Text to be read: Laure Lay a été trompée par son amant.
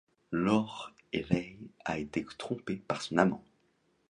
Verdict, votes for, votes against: rejected, 0, 2